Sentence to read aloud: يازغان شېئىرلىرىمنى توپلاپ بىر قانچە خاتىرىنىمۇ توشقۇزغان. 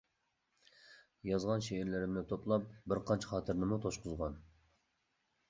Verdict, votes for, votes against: accepted, 2, 0